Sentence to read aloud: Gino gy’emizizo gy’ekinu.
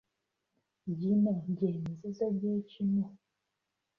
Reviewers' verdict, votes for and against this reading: rejected, 1, 2